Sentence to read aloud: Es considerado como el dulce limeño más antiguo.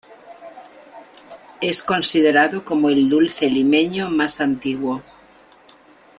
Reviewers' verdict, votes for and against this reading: accepted, 2, 0